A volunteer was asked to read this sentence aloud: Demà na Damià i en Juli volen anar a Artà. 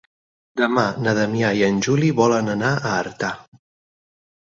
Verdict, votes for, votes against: accepted, 6, 0